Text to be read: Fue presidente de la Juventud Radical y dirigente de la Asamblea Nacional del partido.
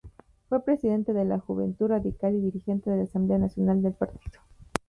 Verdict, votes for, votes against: accepted, 2, 0